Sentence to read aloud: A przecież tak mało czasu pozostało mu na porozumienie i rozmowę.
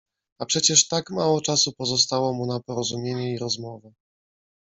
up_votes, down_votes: 2, 0